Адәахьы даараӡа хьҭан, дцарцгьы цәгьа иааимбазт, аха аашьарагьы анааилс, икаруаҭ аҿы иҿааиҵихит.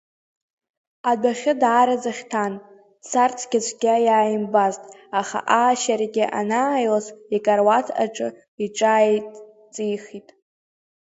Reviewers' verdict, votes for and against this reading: rejected, 1, 2